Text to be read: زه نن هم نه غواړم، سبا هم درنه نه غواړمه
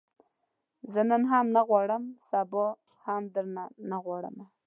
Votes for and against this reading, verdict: 2, 0, accepted